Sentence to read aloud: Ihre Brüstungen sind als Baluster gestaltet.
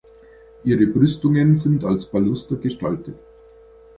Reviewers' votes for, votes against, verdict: 3, 0, accepted